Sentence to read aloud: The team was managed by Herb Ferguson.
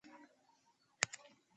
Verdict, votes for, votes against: rejected, 1, 2